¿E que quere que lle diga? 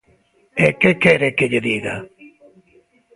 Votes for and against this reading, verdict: 2, 0, accepted